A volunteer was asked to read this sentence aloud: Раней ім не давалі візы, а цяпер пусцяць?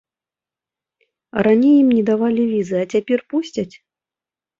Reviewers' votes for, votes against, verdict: 2, 0, accepted